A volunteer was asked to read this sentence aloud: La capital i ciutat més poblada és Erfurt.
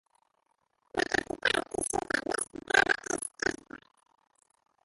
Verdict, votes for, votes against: rejected, 0, 3